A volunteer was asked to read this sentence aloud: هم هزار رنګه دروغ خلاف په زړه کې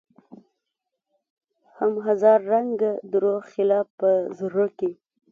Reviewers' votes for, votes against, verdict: 0, 2, rejected